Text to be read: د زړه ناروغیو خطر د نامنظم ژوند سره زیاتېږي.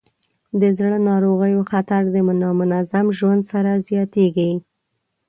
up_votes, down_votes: 0, 2